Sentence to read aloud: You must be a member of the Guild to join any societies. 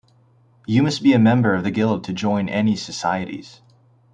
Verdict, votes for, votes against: accepted, 2, 0